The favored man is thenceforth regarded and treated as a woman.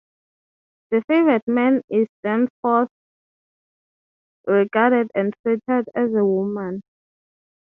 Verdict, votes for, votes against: accepted, 3, 0